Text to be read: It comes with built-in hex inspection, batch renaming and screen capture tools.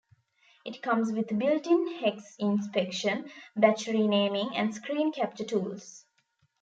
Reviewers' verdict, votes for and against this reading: rejected, 0, 2